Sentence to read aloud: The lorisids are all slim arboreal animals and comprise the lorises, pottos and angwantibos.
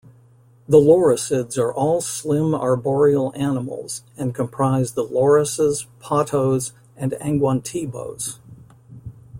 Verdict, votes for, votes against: accepted, 2, 0